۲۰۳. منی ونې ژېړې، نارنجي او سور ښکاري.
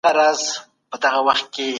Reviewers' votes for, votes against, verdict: 0, 2, rejected